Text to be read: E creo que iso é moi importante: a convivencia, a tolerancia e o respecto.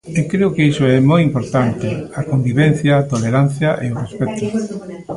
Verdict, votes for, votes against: accepted, 2, 0